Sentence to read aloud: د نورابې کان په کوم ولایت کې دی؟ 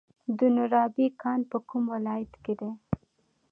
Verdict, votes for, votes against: accepted, 2, 0